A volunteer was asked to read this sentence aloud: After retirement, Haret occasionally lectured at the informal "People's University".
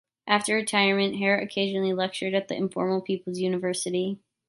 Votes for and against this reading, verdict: 2, 0, accepted